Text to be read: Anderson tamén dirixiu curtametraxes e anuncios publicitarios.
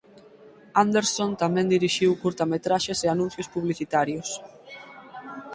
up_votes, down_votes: 4, 0